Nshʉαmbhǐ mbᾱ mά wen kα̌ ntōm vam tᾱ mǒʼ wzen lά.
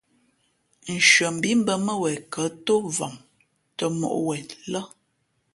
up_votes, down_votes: 2, 0